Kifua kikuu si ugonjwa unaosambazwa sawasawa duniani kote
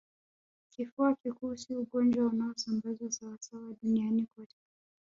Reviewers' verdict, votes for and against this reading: rejected, 1, 2